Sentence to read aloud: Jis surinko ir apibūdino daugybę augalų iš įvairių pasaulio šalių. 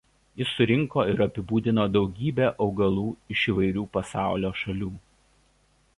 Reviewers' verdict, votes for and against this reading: accepted, 2, 0